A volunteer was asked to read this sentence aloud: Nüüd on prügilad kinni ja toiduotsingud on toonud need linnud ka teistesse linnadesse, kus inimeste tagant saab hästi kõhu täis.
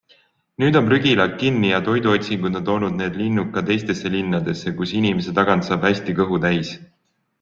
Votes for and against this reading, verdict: 2, 0, accepted